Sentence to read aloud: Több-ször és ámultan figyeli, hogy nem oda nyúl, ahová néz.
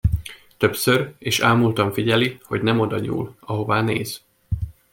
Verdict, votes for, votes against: rejected, 0, 2